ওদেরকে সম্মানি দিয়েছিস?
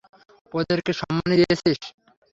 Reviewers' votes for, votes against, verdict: 3, 0, accepted